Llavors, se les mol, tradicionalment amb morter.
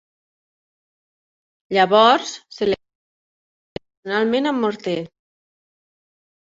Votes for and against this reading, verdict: 0, 2, rejected